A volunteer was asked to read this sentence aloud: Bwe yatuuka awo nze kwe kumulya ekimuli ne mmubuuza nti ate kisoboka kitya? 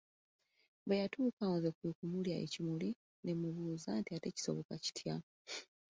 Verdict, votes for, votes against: accepted, 2, 0